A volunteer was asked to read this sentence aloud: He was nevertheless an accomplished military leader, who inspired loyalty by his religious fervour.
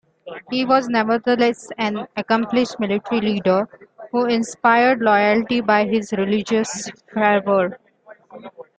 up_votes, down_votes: 2, 0